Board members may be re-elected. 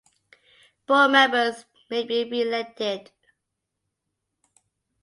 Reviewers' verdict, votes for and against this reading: accepted, 2, 0